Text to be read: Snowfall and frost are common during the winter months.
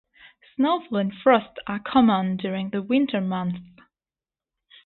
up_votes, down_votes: 2, 0